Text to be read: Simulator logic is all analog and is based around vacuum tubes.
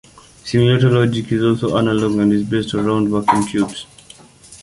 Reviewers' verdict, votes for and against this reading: accepted, 2, 0